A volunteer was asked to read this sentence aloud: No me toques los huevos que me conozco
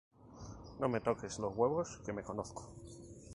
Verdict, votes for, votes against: accepted, 4, 0